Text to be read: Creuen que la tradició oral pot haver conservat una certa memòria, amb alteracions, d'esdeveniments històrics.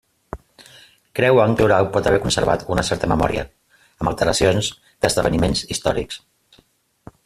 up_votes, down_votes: 0, 2